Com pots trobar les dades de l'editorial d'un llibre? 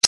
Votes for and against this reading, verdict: 1, 2, rejected